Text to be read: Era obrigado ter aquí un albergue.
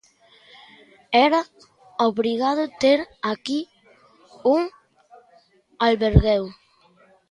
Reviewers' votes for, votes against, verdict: 1, 2, rejected